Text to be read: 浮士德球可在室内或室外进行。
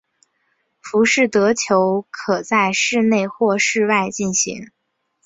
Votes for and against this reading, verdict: 3, 0, accepted